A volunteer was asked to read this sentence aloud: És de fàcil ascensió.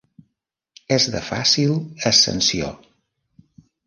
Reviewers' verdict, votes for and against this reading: accepted, 3, 0